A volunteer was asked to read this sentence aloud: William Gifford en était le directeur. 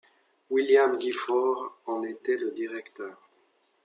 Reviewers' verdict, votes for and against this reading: accepted, 2, 0